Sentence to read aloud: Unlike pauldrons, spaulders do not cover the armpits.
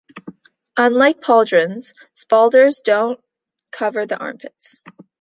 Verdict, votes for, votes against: rejected, 0, 2